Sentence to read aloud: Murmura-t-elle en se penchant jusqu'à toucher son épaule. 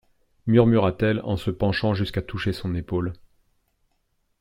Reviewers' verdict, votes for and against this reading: accepted, 2, 0